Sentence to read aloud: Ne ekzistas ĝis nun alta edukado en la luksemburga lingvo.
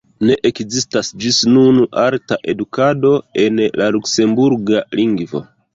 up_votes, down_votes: 2, 1